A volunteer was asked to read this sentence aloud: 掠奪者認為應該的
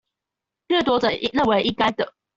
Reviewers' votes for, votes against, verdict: 0, 2, rejected